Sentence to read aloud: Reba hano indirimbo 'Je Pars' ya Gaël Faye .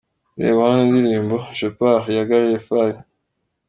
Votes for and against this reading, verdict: 1, 2, rejected